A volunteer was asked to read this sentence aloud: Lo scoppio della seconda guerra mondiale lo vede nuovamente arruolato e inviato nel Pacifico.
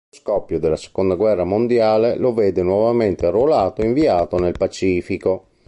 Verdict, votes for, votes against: rejected, 1, 2